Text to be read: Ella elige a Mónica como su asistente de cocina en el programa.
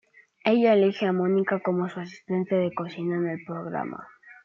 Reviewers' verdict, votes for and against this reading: accepted, 2, 1